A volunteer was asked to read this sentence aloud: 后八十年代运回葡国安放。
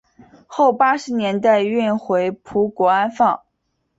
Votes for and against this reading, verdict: 2, 0, accepted